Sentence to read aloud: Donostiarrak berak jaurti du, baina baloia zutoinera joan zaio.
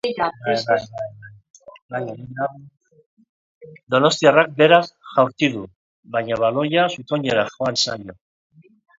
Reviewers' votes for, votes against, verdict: 0, 2, rejected